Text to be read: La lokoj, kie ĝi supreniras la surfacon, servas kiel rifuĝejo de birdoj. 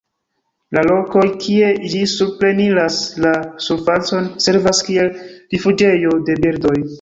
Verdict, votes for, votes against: rejected, 0, 2